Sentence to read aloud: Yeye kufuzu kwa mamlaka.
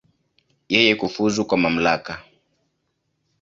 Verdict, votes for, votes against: accepted, 2, 0